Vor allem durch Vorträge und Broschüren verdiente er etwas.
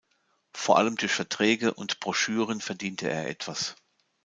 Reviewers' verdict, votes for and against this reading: rejected, 1, 2